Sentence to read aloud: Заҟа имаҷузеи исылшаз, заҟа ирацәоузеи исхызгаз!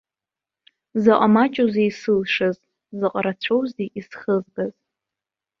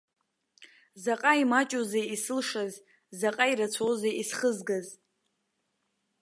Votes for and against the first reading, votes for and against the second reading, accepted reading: 0, 2, 2, 0, second